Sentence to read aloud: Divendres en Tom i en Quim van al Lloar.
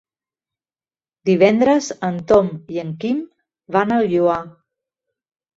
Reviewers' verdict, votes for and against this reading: accepted, 3, 0